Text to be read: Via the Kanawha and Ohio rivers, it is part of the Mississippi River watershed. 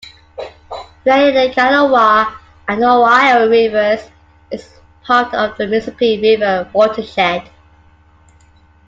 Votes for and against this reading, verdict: 2, 1, accepted